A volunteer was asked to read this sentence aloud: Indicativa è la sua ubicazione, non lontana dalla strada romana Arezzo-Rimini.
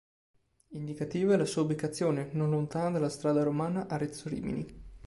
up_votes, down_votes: 2, 0